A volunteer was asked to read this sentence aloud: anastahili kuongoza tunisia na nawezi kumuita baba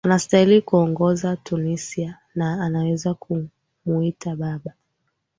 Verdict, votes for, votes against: accepted, 2, 0